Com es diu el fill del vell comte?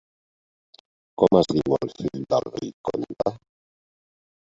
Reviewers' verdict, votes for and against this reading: accepted, 2, 1